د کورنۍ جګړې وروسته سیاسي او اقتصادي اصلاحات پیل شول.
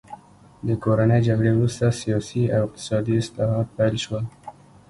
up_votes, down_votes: 2, 0